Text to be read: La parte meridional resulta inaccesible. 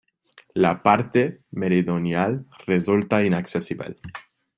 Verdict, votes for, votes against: rejected, 1, 2